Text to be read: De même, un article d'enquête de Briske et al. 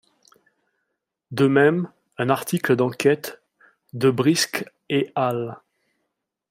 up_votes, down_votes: 2, 0